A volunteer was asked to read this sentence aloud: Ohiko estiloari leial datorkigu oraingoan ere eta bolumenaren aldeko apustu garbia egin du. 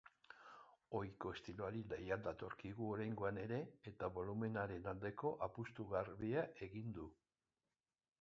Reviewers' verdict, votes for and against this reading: rejected, 0, 2